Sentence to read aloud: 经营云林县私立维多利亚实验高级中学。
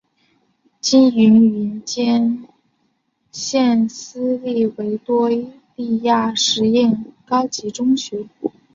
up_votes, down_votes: 1, 3